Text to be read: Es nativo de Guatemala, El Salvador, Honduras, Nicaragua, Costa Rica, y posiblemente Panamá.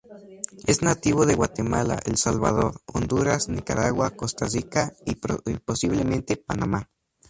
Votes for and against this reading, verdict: 2, 0, accepted